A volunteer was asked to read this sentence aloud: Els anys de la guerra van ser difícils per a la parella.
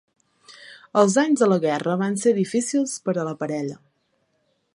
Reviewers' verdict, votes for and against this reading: accepted, 2, 0